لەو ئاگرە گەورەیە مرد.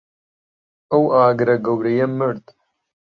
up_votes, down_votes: 0, 2